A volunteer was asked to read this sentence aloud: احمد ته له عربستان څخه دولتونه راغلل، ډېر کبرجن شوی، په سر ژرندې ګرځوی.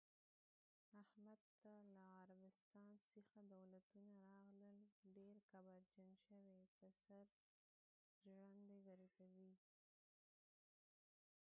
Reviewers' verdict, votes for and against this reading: rejected, 0, 2